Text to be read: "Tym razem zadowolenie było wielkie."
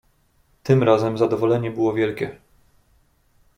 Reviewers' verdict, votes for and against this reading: accepted, 2, 0